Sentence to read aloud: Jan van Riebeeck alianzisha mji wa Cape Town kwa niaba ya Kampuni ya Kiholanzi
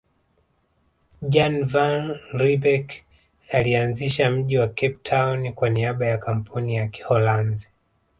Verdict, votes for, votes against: rejected, 1, 2